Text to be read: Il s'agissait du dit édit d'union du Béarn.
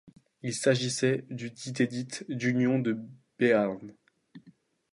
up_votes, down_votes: 1, 2